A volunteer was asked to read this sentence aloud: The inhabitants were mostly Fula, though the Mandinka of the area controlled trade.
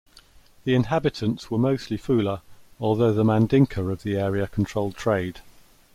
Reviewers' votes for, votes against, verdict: 0, 2, rejected